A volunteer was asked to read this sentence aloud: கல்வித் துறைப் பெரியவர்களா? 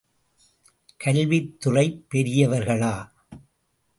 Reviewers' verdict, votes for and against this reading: accepted, 2, 0